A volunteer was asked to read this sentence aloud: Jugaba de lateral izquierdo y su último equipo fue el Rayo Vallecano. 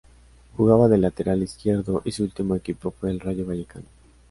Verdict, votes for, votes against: accepted, 2, 0